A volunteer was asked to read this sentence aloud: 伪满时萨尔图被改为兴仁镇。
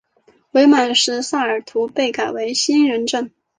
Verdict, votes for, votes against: accepted, 3, 0